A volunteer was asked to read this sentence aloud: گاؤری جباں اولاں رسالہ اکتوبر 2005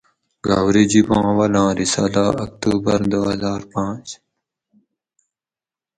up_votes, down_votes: 0, 2